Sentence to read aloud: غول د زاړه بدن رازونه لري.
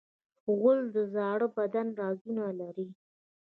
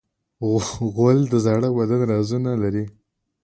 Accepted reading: second